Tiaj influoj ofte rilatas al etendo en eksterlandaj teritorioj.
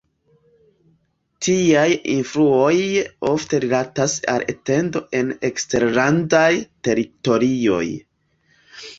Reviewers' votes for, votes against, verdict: 2, 0, accepted